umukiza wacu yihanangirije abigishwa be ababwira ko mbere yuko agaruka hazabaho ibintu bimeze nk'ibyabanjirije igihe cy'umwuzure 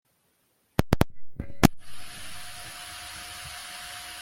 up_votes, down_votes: 0, 2